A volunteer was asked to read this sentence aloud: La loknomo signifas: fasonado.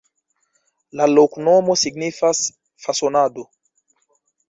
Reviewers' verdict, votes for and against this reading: accepted, 2, 1